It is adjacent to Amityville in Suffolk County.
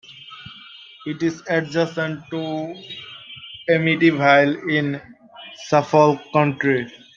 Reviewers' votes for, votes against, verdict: 0, 2, rejected